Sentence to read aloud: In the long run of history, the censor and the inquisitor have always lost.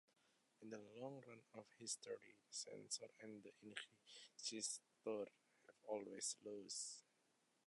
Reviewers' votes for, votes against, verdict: 0, 2, rejected